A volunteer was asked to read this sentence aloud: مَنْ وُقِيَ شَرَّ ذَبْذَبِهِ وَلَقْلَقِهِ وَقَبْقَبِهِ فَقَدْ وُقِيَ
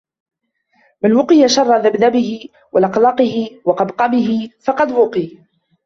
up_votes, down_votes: 1, 2